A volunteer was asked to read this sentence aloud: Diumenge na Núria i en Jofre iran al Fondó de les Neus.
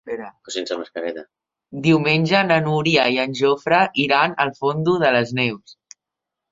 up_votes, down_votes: 0, 2